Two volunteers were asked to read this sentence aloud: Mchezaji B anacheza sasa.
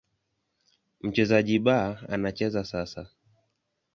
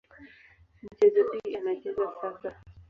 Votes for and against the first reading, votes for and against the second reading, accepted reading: 2, 0, 0, 2, first